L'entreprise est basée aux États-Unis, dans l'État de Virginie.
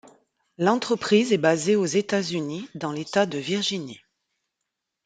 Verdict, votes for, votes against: accepted, 2, 0